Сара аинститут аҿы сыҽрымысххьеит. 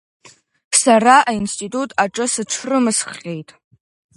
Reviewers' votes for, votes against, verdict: 2, 1, accepted